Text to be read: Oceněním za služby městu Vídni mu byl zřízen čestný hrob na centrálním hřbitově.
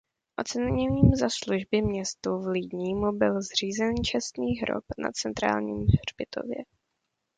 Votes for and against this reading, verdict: 0, 2, rejected